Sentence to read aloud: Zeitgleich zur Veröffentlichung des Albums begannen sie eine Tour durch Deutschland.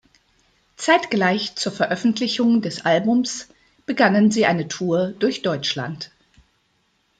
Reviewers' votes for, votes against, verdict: 2, 0, accepted